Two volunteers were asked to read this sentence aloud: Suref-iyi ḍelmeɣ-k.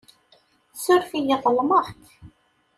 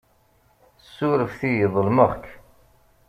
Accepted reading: first